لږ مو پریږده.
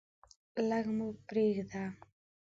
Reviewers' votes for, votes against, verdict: 2, 0, accepted